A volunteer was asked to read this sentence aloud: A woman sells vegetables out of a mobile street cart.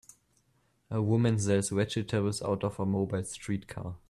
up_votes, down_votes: 2, 3